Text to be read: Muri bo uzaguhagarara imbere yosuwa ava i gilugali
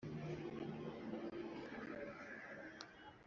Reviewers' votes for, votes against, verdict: 1, 2, rejected